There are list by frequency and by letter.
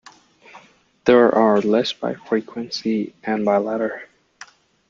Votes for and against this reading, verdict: 2, 0, accepted